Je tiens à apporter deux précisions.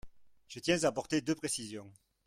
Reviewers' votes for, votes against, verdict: 1, 2, rejected